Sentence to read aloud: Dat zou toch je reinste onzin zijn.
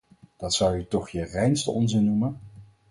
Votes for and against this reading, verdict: 0, 4, rejected